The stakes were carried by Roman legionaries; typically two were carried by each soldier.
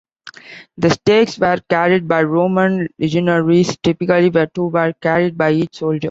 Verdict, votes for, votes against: rejected, 0, 2